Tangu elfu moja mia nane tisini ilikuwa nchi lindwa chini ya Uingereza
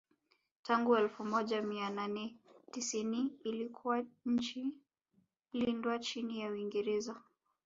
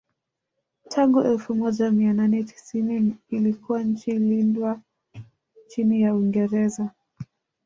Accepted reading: first